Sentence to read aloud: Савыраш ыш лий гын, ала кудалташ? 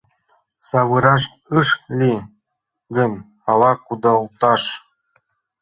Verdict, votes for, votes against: accepted, 2, 0